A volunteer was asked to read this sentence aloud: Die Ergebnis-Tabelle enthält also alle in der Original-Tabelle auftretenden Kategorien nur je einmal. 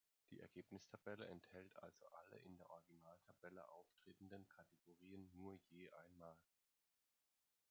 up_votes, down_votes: 1, 2